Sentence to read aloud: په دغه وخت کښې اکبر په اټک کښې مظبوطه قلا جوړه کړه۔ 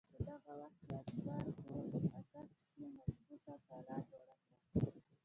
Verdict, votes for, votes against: rejected, 1, 2